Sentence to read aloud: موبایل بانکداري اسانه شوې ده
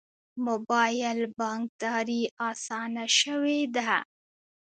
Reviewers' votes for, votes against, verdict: 2, 1, accepted